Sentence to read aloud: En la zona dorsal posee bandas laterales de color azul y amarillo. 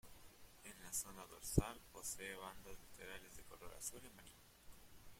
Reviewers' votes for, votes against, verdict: 1, 2, rejected